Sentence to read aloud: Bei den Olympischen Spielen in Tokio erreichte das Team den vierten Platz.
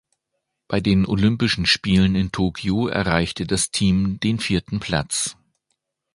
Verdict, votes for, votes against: accepted, 2, 0